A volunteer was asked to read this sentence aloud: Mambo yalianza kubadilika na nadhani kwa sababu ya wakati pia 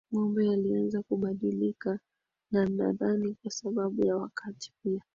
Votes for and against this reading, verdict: 12, 2, accepted